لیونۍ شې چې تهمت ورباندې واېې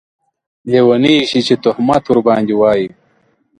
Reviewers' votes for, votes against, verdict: 2, 0, accepted